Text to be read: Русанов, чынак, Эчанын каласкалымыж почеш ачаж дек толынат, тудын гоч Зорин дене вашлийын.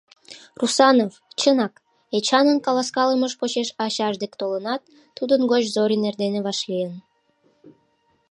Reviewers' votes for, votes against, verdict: 0, 2, rejected